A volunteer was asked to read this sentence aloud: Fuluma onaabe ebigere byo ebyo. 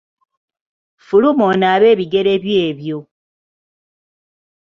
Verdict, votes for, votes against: rejected, 1, 2